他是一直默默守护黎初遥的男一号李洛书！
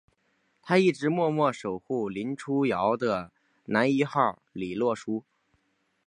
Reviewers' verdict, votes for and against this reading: rejected, 0, 2